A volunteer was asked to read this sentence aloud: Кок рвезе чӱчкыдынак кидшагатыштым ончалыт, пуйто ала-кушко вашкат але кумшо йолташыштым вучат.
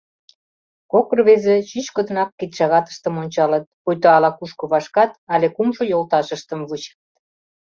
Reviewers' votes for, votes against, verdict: 1, 2, rejected